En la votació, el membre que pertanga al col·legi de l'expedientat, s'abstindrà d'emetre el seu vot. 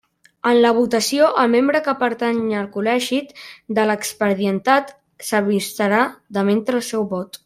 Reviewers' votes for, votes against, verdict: 0, 2, rejected